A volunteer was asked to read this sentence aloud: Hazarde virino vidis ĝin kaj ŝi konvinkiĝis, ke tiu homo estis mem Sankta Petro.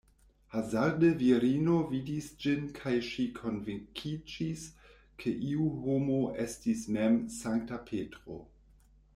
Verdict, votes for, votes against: rejected, 0, 2